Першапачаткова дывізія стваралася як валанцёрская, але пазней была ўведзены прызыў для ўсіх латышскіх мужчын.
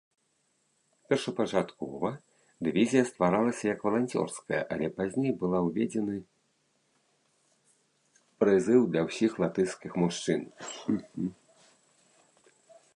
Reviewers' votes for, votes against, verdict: 1, 2, rejected